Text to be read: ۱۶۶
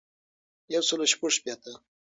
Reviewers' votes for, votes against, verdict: 0, 2, rejected